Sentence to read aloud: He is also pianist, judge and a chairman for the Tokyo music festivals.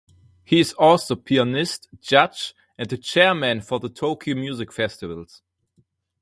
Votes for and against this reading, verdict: 4, 0, accepted